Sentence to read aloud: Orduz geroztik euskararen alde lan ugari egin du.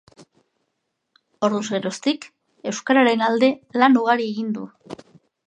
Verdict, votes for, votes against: accepted, 2, 0